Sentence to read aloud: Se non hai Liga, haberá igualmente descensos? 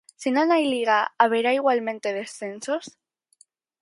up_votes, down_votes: 4, 0